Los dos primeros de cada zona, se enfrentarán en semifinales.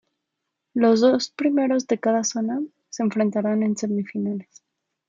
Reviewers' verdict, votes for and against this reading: accepted, 3, 2